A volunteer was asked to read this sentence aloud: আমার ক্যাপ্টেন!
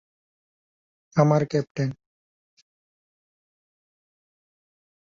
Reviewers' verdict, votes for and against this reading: accepted, 16, 2